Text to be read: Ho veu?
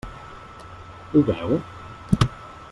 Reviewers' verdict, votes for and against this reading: accepted, 3, 0